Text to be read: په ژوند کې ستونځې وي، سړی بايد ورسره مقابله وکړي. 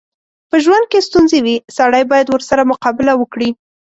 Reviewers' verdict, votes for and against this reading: accepted, 2, 0